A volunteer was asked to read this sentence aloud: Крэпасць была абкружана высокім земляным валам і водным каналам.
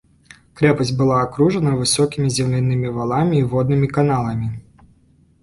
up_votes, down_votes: 0, 2